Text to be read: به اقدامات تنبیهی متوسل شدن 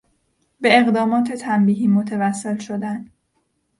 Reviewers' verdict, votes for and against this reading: accepted, 2, 0